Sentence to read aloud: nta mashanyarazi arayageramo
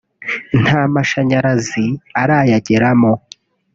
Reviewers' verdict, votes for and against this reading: accepted, 3, 0